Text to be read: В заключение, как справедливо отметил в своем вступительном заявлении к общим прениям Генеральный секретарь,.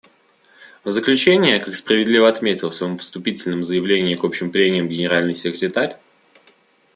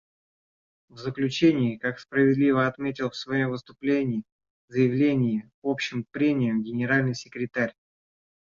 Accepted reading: first